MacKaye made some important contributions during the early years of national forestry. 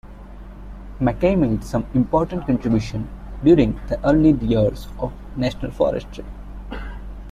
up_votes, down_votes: 1, 2